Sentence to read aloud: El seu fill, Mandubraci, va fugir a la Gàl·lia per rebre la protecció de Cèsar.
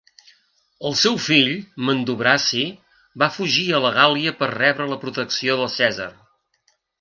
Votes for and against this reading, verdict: 2, 0, accepted